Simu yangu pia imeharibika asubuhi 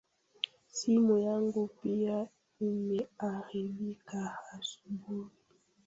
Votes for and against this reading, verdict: 1, 3, rejected